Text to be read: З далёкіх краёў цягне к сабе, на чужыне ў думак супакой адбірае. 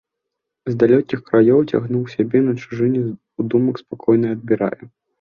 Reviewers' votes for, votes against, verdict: 0, 2, rejected